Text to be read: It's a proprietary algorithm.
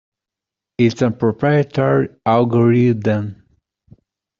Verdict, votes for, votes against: accepted, 2, 1